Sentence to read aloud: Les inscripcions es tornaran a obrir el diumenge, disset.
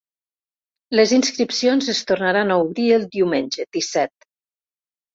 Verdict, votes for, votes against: accepted, 2, 0